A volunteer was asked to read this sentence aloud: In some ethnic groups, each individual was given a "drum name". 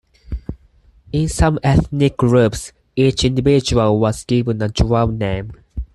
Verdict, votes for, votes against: accepted, 4, 0